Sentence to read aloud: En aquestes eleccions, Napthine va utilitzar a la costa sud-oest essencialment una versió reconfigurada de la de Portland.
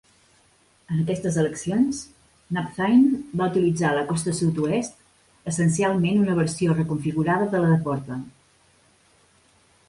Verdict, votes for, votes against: accepted, 2, 0